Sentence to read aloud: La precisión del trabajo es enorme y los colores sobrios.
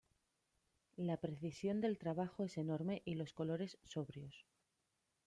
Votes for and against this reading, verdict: 2, 0, accepted